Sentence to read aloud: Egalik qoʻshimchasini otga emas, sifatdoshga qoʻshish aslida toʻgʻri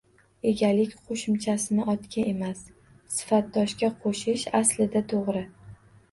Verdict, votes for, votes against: rejected, 1, 2